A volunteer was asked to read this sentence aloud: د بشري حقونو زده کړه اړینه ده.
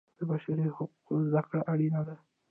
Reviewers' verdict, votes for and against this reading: rejected, 1, 2